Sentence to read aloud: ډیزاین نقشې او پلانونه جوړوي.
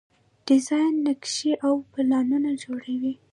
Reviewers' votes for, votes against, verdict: 0, 2, rejected